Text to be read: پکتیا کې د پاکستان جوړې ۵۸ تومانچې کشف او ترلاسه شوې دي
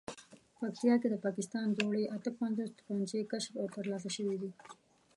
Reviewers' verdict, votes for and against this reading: rejected, 0, 2